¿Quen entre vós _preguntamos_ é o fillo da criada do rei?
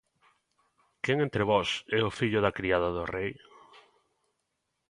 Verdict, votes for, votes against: rejected, 0, 3